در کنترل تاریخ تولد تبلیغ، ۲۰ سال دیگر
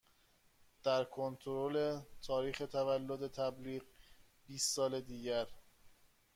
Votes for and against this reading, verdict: 0, 2, rejected